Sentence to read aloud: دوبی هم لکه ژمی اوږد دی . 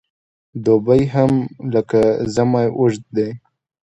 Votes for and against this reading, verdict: 2, 0, accepted